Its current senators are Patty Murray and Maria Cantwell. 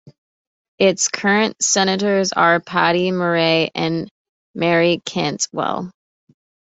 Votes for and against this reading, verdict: 0, 2, rejected